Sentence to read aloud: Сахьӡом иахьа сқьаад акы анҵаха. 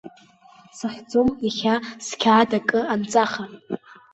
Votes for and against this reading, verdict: 2, 1, accepted